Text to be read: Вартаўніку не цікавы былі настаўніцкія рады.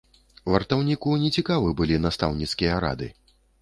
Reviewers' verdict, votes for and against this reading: accepted, 2, 0